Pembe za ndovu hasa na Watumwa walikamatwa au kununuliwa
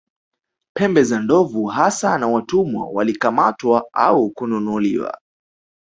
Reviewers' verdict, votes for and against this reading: accepted, 2, 0